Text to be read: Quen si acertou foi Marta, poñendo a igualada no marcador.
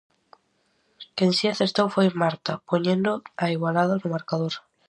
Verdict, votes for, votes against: accepted, 4, 0